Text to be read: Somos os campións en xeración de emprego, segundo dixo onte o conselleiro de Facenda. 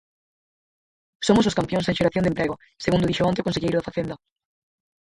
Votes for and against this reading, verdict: 0, 4, rejected